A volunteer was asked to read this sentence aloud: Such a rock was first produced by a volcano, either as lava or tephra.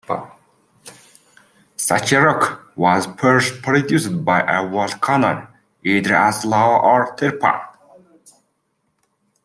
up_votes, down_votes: 1, 2